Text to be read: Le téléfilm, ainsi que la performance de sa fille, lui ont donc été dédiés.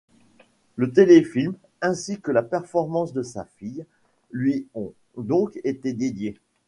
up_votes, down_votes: 0, 2